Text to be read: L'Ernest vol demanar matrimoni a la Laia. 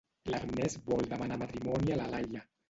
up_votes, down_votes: 0, 2